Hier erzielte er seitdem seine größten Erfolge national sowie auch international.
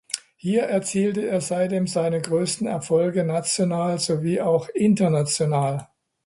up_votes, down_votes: 2, 0